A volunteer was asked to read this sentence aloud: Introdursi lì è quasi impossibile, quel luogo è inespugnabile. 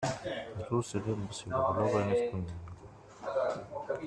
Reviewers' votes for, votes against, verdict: 0, 2, rejected